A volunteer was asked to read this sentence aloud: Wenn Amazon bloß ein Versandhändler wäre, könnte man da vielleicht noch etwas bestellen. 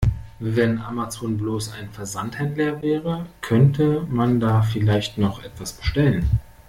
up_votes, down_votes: 0, 2